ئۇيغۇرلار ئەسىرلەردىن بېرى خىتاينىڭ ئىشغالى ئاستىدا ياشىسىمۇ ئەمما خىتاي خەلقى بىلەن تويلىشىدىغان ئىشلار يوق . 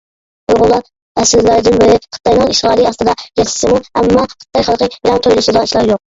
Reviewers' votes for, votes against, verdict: 0, 2, rejected